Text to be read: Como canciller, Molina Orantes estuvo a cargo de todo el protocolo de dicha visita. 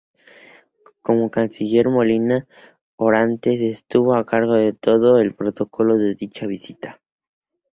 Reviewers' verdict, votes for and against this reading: rejected, 0, 2